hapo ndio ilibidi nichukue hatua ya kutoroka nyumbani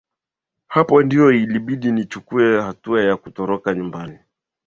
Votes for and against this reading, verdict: 9, 2, accepted